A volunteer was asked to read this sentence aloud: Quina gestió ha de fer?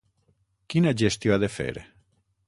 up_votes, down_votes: 6, 0